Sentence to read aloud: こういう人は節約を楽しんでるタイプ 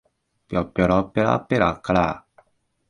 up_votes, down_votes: 1, 4